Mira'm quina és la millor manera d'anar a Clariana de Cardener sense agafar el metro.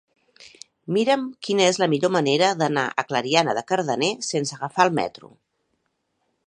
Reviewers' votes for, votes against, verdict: 2, 0, accepted